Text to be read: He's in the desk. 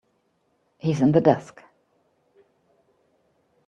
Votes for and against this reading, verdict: 2, 0, accepted